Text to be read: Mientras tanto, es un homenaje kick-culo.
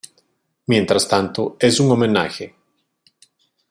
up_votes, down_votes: 0, 2